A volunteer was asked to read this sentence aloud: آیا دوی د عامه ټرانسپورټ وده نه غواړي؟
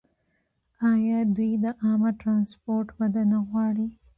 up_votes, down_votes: 2, 1